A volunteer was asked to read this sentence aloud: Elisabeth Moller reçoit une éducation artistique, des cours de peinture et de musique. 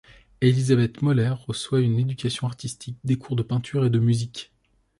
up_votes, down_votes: 2, 0